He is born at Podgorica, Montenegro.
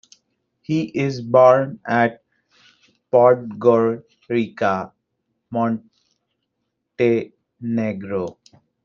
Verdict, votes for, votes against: rejected, 0, 2